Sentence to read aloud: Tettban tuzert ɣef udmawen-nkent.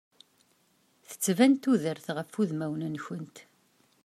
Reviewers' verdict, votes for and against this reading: rejected, 0, 2